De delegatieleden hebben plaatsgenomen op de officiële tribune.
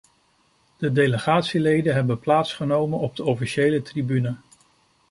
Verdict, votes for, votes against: accepted, 2, 0